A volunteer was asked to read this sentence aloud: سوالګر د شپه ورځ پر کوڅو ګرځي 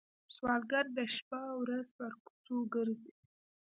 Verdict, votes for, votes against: rejected, 1, 2